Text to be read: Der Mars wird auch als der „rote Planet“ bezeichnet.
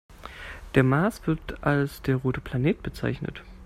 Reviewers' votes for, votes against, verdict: 0, 2, rejected